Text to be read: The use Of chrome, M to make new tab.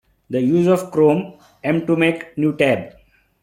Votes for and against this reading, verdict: 2, 1, accepted